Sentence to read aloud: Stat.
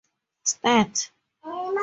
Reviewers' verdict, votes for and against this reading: rejected, 2, 4